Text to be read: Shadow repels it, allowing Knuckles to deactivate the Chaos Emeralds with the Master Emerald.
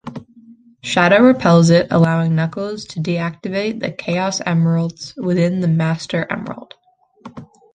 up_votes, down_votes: 2, 0